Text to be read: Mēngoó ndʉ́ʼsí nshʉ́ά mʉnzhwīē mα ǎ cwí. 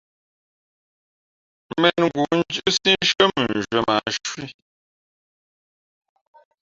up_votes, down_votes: 0, 2